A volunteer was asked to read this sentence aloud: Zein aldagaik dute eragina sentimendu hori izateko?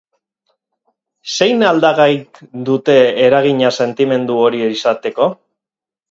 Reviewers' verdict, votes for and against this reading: rejected, 2, 2